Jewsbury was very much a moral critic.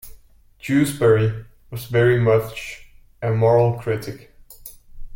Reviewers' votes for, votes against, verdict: 2, 1, accepted